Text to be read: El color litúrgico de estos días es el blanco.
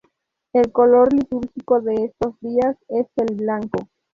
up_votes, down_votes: 0, 2